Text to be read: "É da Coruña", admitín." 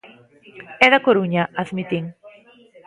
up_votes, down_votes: 2, 0